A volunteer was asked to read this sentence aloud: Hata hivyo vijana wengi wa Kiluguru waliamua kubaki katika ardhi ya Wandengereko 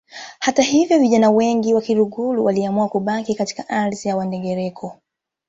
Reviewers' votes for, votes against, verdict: 2, 1, accepted